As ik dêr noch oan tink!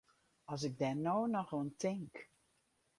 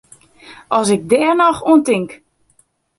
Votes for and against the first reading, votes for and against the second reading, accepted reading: 0, 4, 2, 0, second